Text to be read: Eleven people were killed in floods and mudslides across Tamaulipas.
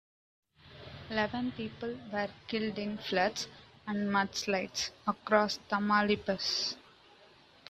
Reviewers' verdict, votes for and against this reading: accepted, 2, 0